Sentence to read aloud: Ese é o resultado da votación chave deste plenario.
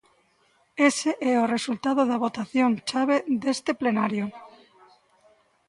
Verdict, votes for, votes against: accepted, 2, 0